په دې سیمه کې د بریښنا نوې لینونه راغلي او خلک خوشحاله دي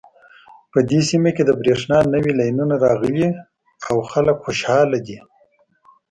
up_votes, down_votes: 2, 1